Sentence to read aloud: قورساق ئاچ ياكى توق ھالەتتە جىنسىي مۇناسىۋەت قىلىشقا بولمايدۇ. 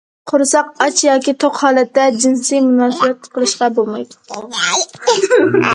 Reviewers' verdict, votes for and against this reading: accepted, 2, 0